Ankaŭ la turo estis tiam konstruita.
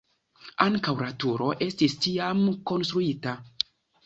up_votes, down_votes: 1, 2